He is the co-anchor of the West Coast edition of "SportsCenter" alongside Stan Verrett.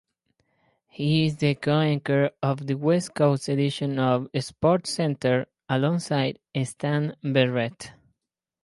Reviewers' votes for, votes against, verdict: 2, 2, rejected